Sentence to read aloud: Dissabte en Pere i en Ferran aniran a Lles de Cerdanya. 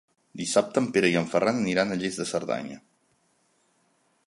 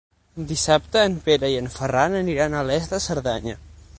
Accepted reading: first